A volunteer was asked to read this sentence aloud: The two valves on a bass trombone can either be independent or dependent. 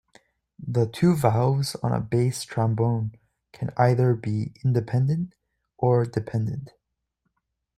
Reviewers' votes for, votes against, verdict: 2, 0, accepted